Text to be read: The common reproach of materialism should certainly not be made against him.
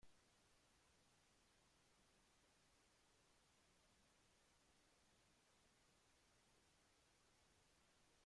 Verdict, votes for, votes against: rejected, 0, 2